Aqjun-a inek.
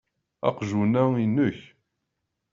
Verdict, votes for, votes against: accepted, 2, 0